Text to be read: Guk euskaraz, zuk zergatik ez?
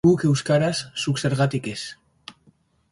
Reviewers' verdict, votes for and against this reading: accepted, 2, 0